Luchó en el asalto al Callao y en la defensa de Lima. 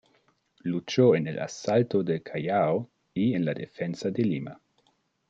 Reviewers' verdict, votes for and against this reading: rejected, 0, 2